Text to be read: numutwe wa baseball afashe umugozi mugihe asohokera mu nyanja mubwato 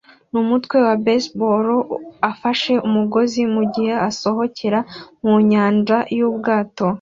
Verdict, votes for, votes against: rejected, 1, 2